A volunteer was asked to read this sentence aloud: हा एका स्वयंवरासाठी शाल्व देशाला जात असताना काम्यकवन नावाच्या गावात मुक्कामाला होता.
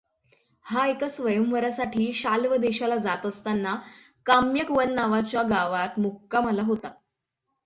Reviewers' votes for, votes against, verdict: 6, 0, accepted